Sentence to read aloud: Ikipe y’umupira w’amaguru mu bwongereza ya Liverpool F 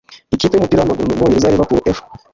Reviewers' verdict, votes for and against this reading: rejected, 0, 2